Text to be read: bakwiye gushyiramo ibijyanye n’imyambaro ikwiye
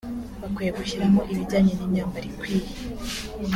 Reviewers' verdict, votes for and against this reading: accepted, 2, 0